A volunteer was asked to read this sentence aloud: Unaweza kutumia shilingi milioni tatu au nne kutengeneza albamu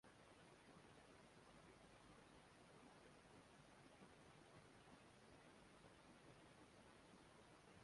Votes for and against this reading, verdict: 0, 2, rejected